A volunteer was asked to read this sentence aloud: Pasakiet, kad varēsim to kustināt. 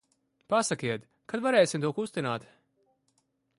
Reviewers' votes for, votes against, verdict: 0, 2, rejected